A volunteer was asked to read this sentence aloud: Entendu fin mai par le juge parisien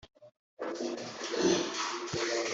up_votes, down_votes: 0, 2